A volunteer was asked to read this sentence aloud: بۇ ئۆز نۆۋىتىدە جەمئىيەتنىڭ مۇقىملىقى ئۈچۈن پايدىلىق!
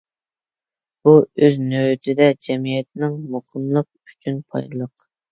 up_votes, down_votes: 0, 2